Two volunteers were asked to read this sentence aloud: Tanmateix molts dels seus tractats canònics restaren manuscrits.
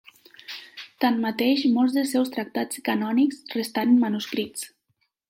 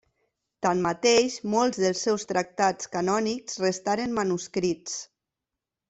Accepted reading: second